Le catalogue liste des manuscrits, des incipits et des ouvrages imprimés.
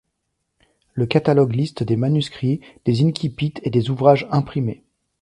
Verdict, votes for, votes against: rejected, 1, 2